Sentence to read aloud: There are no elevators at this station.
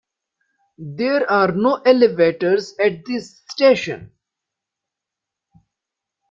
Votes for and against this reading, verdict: 2, 0, accepted